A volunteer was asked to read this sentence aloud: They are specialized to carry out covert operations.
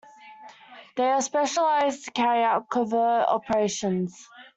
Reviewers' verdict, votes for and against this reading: accepted, 2, 0